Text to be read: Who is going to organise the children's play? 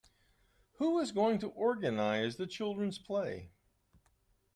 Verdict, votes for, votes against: accepted, 2, 0